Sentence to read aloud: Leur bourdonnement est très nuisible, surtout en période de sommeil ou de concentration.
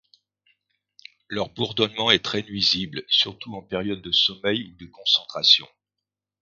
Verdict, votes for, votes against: accepted, 2, 1